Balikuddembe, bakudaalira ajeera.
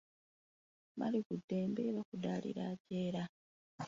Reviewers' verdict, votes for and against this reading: rejected, 0, 2